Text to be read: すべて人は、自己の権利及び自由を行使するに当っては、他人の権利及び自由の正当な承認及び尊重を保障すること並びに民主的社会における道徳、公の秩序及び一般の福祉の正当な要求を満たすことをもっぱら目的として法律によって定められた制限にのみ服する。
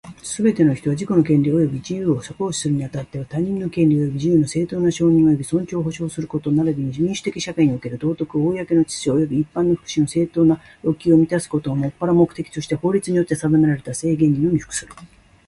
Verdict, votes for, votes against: accepted, 2, 0